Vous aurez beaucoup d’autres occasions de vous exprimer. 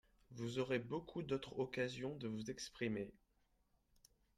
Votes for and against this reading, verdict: 3, 0, accepted